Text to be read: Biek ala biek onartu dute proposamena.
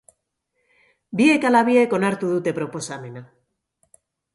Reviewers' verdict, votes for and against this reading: accepted, 2, 0